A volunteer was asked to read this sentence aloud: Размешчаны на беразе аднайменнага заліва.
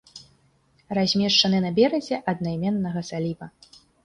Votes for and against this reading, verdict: 3, 0, accepted